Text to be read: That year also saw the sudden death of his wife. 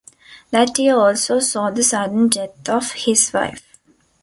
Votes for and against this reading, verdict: 2, 0, accepted